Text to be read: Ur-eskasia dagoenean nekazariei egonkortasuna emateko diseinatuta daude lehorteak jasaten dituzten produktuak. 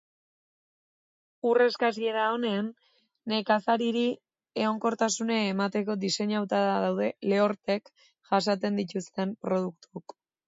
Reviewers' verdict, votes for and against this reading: rejected, 0, 2